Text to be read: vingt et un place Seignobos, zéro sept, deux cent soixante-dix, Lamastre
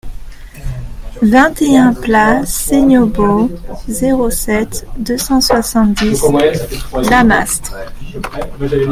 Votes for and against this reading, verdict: 0, 2, rejected